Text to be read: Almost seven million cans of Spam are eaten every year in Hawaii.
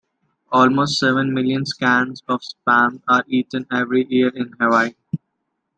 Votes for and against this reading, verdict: 0, 2, rejected